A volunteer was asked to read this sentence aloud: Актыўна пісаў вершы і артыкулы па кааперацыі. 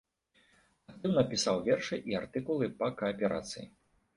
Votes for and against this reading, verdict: 0, 2, rejected